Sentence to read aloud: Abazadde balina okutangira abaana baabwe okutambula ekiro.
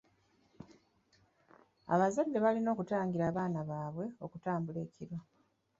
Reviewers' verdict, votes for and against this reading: accepted, 3, 0